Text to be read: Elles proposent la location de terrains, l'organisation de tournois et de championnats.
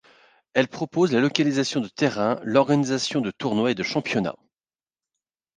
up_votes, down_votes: 0, 2